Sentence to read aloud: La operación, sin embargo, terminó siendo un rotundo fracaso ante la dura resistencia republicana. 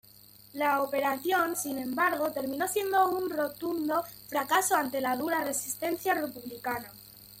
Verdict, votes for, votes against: accepted, 2, 0